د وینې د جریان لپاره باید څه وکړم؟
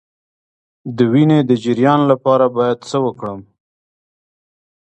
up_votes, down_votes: 2, 0